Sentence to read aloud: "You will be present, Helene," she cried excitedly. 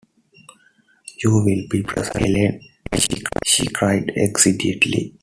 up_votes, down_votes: 0, 2